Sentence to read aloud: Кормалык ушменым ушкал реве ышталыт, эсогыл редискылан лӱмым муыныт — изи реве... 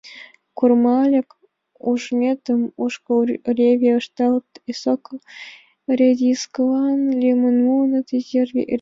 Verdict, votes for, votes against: rejected, 0, 2